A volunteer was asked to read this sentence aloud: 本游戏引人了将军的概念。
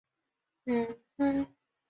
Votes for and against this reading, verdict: 1, 5, rejected